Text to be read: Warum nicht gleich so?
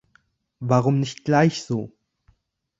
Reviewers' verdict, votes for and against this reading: accepted, 2, 0